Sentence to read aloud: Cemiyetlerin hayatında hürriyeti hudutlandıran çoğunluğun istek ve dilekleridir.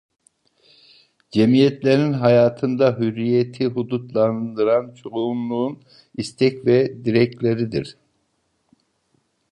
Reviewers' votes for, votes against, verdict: 2, 0, accepted